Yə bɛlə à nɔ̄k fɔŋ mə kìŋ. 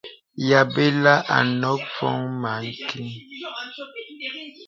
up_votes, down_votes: 0, 2